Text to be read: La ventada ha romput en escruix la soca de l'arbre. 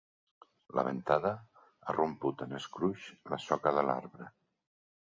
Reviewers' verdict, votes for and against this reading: accepted, 2, 0